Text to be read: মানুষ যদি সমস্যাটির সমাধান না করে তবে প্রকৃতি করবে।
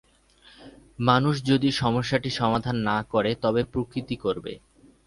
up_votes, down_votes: 2, 0